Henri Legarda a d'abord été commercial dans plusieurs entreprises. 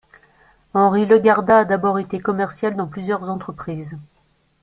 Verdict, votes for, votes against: accepted, 2, 1